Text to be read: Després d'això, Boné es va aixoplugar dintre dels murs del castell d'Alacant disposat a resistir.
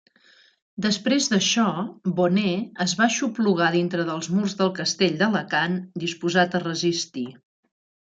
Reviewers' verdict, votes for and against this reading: accepted, 2, 0